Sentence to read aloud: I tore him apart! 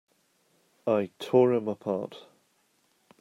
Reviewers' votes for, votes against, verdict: 0, 2, rejected